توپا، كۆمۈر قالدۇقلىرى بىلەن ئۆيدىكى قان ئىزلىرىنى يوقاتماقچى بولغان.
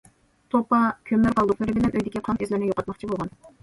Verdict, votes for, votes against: rejected, 1, 2